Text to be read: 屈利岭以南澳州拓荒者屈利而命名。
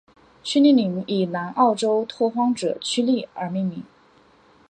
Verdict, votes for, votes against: accepted, 2, 0